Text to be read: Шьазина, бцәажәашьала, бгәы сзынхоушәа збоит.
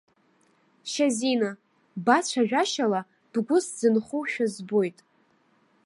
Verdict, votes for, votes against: rejected, 1, 2